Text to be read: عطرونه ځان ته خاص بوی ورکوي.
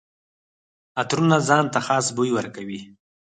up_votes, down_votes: 2, 4